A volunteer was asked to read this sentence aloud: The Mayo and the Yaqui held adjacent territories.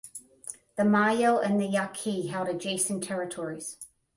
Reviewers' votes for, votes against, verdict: 10, 0, accepted